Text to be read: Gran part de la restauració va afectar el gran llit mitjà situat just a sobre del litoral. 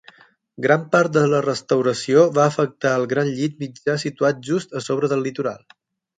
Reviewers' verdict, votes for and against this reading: accepted, 12, 0